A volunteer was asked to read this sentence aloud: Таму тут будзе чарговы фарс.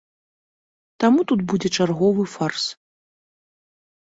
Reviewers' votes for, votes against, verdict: 2, 0, accepted